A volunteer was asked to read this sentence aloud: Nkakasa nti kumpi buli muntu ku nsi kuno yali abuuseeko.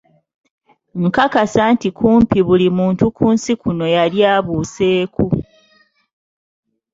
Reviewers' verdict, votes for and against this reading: accepted, 3, 0